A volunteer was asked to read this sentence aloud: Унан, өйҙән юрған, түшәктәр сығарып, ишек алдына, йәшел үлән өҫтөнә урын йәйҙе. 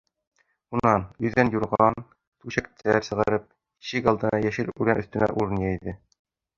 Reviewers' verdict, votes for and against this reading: rejected, 0, 2